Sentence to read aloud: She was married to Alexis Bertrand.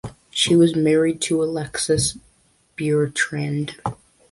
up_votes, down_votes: 0, 2